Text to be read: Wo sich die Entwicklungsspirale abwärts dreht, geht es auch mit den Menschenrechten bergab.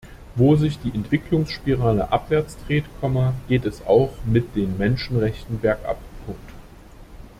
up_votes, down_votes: 0, 2